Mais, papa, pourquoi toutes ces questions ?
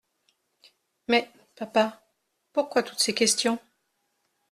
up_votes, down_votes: 2, 0